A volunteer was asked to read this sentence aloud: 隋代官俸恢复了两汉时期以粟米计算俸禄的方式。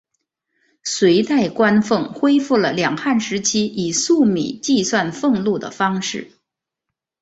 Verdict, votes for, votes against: accepted, 2, 0